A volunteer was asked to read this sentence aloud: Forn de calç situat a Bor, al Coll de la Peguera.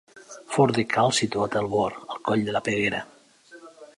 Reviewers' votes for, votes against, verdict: 2, 1, accepted